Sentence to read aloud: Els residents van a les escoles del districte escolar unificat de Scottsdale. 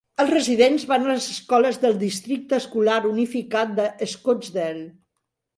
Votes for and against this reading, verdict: 3, 0, accepted